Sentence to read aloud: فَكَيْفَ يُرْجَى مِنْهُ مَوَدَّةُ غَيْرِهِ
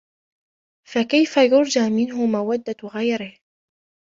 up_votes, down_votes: 0, 2